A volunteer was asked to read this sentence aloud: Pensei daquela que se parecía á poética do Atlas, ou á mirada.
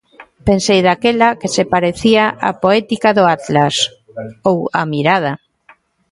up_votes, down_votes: 2, 0